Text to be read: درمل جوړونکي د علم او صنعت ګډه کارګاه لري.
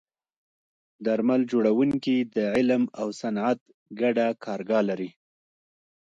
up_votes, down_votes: 2, 1